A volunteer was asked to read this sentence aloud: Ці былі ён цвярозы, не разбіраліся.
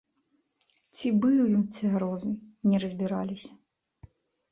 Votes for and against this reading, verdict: 0, 2, rejected